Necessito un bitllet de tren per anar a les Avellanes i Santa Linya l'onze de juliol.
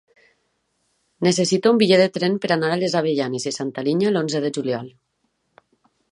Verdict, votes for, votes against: rejected, 1, 2